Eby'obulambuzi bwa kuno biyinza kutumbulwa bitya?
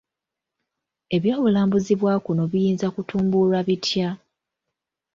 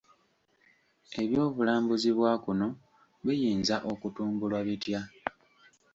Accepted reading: first